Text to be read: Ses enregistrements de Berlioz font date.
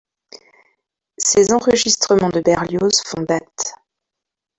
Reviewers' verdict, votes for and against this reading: accepted, 2, 1